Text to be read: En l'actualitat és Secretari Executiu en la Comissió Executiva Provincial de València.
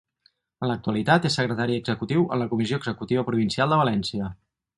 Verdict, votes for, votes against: rejected, 2, 4